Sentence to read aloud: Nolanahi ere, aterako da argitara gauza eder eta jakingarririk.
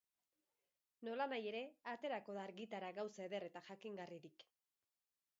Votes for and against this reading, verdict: 2, 2, rejected